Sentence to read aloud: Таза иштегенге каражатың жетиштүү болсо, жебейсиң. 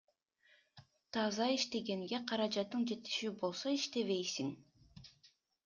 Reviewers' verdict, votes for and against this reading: rejected, 0, 2